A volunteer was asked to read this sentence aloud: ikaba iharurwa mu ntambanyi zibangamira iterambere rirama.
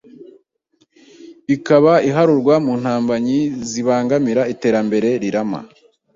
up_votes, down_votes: 2, 0